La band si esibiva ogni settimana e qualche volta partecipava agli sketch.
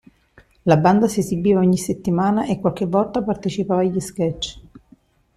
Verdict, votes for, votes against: accepted, 2, 1